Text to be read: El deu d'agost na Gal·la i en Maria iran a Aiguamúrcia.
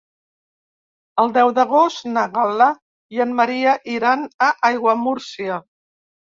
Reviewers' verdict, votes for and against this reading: accepted, 3, 0